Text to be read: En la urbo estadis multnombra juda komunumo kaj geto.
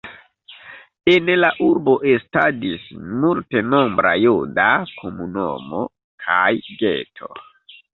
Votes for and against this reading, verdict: 1, 2, rejected